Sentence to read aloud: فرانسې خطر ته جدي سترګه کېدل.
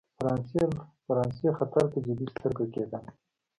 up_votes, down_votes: 3, 0